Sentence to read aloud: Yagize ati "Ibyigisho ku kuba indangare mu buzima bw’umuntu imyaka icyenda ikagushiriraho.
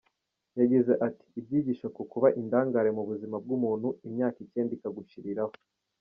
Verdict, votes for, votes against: rejected, 0, 2